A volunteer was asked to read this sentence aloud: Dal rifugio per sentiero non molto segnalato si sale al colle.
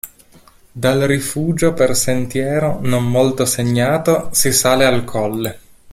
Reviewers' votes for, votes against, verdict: 1, 2, rejected